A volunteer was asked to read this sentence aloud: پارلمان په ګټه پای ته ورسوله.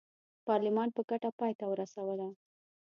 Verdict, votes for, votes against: accepted, 2, 0